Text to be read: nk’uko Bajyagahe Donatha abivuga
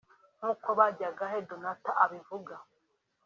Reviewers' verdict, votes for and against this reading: accepted, 4, 0